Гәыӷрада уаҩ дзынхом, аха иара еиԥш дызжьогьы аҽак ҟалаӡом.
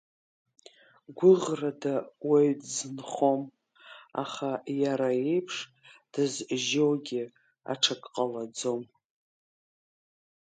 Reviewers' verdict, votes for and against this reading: accepted, 2, 0